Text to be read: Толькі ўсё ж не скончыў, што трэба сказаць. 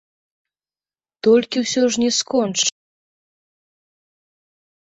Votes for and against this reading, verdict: 0, 2, rejected